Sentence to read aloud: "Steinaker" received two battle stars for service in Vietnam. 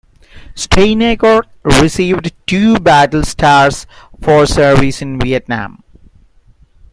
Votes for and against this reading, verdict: 2, 1, accepted